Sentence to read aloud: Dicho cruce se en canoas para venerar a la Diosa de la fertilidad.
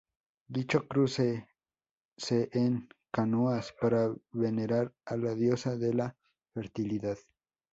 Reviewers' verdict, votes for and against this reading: rejected, 0, 2